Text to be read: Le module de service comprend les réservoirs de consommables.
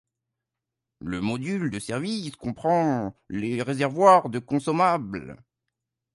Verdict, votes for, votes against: accepted, 2, 1